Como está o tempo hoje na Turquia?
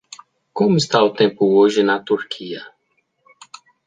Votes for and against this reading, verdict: 2, 0, accepted